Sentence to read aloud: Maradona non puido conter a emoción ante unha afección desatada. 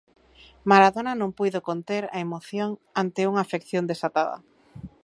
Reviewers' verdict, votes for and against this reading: accepted, 3, 0